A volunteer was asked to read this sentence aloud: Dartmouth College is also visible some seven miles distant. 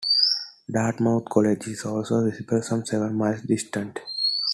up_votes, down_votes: 2, 0